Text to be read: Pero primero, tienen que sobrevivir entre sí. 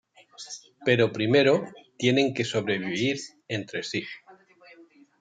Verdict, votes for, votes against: accepted, 2, 0